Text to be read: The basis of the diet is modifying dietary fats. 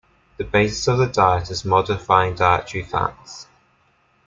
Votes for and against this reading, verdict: 2, 1, accepted